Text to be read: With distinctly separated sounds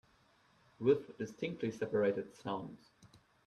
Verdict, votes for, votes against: rejected, 1, 2